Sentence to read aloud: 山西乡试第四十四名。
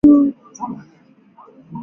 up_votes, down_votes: 0, 2